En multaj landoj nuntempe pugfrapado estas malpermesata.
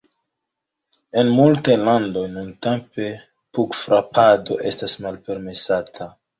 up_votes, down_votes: 1, 2